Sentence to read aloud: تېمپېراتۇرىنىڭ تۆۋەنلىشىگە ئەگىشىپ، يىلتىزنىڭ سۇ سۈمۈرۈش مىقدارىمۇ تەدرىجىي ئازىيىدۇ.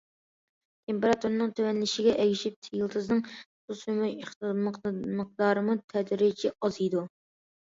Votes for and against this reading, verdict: 0, 2, rejected